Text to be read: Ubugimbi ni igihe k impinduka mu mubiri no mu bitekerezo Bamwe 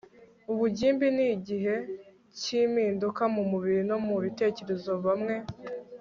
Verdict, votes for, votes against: accepted, 3, 0